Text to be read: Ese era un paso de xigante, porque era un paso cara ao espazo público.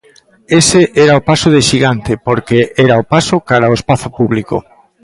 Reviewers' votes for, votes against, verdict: 0, 2, rejected